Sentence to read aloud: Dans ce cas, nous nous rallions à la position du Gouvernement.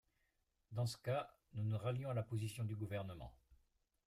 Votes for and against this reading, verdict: 1, 2, rejected